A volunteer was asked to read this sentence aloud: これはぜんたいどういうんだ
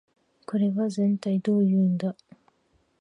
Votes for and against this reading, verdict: 2, 0, accepted